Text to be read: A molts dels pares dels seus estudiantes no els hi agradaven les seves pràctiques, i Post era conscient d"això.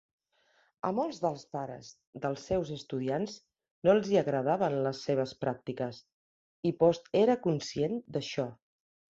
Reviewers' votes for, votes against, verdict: 2, 0, accepted